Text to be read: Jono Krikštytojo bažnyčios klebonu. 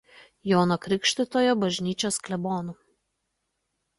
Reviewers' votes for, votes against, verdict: 2, 0, accepted